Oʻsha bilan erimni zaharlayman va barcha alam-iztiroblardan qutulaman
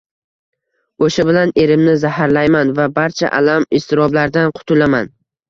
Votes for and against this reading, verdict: 1, 2, rejected